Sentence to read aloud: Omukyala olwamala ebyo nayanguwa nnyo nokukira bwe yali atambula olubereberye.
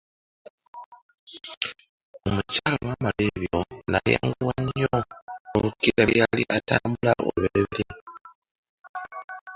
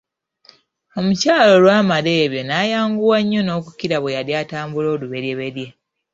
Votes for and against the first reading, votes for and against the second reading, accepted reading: 0, 2, 2, 1, second